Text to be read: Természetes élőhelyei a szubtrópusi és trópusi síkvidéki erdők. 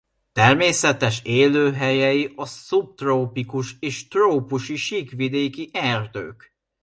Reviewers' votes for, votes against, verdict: 0, 2, rejected